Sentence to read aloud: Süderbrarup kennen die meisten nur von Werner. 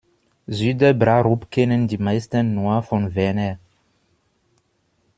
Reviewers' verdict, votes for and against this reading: accepted, 2, 0